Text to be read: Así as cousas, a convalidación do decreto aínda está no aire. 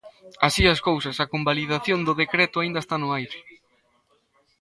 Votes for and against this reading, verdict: 2, 0, accepted